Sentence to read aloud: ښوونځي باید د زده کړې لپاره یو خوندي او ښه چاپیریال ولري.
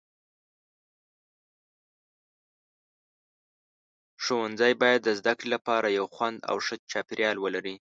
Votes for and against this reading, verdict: 0, 2, rejected